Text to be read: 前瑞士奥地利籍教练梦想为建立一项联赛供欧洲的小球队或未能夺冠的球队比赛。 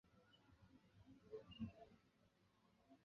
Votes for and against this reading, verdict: 0, 6, rejected